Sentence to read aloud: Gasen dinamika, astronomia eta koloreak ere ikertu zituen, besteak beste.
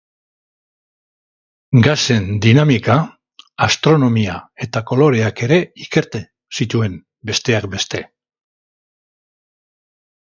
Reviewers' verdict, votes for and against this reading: rejected, 0, 2